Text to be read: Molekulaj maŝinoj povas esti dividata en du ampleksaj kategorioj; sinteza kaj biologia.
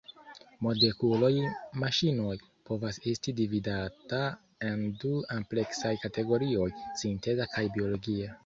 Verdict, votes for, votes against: rejected, 0, 2